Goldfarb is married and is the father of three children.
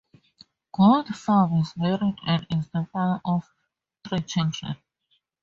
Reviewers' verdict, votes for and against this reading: rejected, 6, 10